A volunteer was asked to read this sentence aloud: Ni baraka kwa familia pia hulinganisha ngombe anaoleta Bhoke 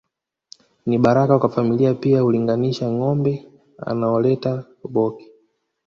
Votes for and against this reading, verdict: 1, 2, rejected